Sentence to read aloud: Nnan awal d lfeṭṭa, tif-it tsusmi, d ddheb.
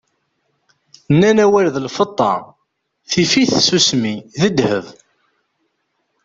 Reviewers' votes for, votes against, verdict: 2, 0, accepted